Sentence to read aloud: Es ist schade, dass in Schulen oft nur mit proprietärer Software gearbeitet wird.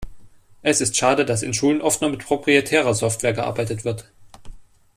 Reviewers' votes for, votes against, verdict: 3, 0, accepted